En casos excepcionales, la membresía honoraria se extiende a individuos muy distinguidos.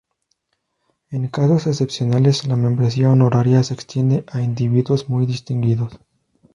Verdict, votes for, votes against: accepted, 2, 0